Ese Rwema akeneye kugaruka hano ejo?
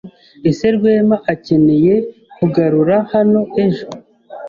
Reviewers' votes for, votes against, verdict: 1, 2, rejected